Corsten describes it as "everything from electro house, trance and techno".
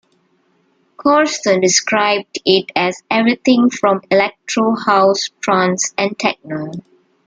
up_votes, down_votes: 1, 2